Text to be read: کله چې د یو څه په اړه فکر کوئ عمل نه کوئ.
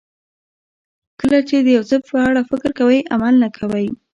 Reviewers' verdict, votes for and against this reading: accepted, 2, 0